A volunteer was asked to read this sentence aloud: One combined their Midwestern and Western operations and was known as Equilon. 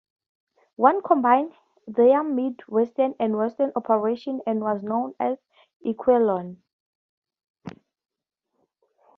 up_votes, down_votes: 2, 0